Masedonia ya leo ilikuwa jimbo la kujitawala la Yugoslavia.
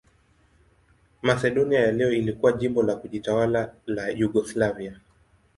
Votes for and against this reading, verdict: 2, 0, accepted